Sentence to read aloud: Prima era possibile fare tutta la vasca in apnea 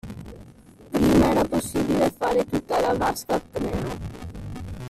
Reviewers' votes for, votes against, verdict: 0, 2, rejected